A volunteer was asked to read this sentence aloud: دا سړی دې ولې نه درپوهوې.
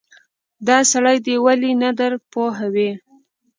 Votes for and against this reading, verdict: 2, 0, accepted